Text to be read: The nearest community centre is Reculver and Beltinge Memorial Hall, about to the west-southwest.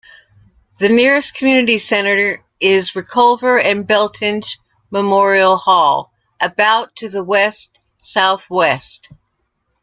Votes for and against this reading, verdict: 0, 2, rejected